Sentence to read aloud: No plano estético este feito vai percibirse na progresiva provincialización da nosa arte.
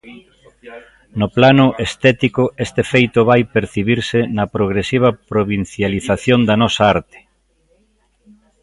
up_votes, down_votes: 0, 2